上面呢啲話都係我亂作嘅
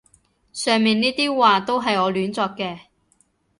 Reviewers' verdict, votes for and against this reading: accepted, 2, 0